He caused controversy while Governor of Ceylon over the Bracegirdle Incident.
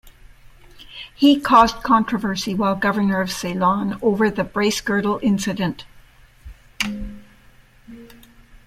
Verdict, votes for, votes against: accepted, 2, 0